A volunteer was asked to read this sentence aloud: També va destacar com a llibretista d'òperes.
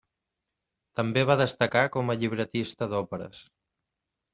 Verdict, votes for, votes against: accepted, 3, 0